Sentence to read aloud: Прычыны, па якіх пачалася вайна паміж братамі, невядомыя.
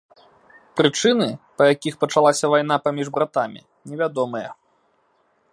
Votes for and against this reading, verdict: 2, 0, accepted